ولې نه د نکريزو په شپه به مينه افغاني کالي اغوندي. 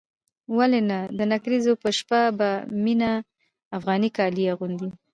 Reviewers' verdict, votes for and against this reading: rejected, 0, 2